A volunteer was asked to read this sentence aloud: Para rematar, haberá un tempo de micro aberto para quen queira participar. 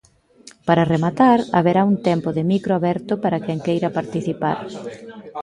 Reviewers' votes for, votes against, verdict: 2, 0, accepted